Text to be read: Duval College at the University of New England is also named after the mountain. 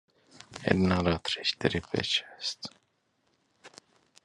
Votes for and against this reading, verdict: 0, 2, rejected